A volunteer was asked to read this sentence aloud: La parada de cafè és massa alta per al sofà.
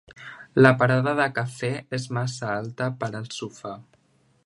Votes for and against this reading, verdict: 3, 0, accepted